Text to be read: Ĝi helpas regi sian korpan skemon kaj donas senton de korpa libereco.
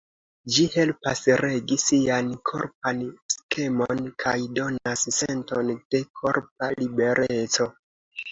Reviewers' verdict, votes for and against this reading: accepted, 2, 1